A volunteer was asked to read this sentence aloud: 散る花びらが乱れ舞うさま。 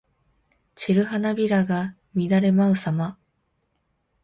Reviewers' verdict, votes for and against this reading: accepted, 2, 0